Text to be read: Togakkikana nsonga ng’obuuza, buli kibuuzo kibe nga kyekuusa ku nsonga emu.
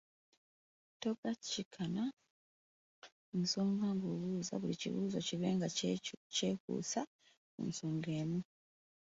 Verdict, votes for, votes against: rejected, 0, 2